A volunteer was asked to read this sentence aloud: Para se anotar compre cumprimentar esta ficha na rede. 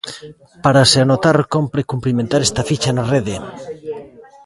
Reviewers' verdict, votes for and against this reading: rejected, 1, 2